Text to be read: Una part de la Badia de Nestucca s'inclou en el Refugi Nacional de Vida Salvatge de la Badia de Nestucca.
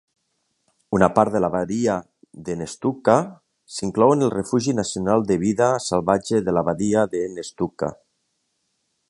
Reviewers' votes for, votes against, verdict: 2, 0, accepted